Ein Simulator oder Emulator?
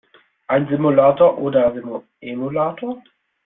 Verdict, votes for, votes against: rejected, 1, 2